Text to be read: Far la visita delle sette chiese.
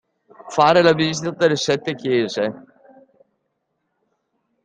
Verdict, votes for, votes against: rejected, 1, 2